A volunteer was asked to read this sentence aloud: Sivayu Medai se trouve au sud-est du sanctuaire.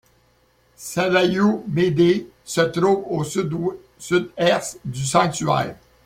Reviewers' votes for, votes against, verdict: 1, 2, rejected